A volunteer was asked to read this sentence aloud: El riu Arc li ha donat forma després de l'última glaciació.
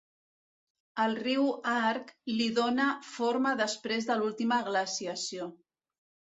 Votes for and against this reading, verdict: 1, 2, rejected